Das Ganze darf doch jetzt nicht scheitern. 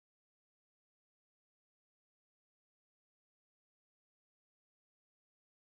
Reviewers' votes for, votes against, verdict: 0, 3, rejected